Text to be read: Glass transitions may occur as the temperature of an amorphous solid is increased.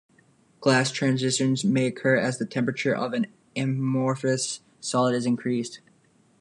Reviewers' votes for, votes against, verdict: 1, 2, rejected